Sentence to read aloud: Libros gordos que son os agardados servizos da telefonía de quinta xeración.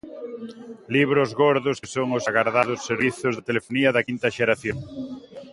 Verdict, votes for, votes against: accepted, 2, 0